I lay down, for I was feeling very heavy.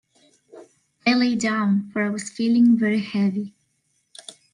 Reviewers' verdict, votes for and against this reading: accepted, 2, 0